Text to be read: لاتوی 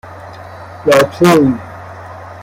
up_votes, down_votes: 0, 2